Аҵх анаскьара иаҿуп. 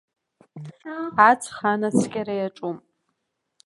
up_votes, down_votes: 2, 0